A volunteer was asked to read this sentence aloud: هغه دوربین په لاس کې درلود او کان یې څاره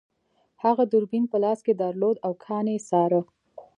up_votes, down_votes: 2, 0